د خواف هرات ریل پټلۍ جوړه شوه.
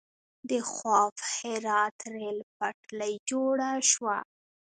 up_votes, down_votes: 1, 2